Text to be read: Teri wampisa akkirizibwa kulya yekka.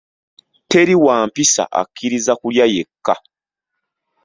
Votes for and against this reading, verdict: 1, 2, rejected